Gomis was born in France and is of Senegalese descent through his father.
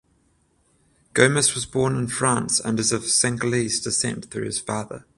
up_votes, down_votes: 14, 0